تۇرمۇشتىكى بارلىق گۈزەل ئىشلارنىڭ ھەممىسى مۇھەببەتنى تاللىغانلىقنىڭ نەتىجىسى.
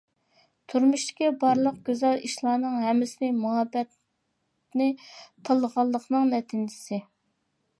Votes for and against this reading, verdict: 0, 2, rejected